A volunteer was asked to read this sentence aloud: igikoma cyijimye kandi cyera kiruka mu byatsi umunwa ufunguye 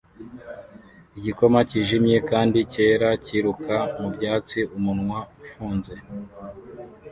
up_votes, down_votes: 1, 2